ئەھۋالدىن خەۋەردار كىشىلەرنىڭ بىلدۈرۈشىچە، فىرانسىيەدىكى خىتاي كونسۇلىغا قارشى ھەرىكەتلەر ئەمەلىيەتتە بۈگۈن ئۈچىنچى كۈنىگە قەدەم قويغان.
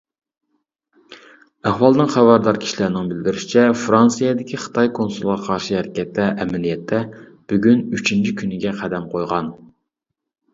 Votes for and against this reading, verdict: 2, 0, accepted